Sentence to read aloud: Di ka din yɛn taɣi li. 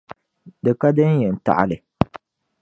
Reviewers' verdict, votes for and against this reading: accepted, 2, 0